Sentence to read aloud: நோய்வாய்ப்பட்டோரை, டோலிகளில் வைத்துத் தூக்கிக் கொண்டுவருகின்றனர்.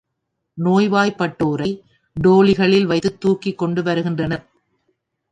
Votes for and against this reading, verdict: 1, 2, rejected